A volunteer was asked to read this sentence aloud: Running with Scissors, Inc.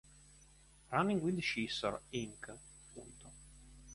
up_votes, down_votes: 2, 1